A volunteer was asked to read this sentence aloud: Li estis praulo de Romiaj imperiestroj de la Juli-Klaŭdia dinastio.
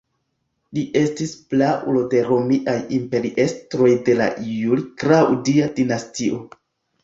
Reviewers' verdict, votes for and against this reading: rejected, 0, 2